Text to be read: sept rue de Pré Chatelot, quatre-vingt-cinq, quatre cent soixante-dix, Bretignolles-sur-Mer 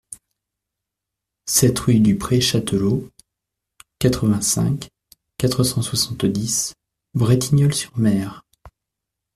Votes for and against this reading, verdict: 1, 2, rejected